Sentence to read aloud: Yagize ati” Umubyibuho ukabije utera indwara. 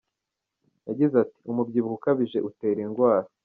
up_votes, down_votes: 1, 2